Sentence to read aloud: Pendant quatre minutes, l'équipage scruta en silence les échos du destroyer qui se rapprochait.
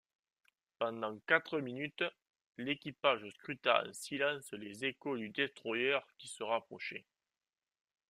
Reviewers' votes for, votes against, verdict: 0, 2, rejected